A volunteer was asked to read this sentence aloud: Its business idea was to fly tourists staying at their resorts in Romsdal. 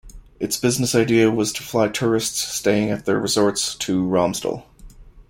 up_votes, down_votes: 0, 2